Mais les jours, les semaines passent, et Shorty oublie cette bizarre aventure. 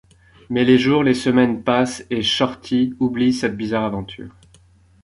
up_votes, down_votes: 2, 0